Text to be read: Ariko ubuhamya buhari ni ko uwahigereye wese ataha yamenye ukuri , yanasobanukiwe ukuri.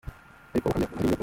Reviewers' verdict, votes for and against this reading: rejected, 0, 2